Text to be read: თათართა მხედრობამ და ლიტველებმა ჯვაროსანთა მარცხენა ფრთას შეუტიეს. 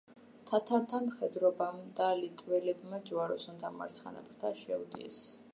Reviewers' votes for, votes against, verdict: 1, 2, rejected